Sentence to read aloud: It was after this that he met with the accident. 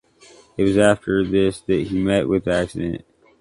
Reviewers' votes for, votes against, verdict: 2, 0, accepted